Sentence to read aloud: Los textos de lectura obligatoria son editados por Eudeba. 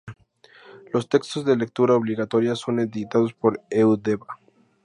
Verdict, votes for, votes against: accepted, 2, 0